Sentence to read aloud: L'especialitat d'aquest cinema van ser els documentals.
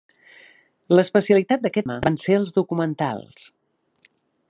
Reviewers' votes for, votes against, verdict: 0, 2, rejected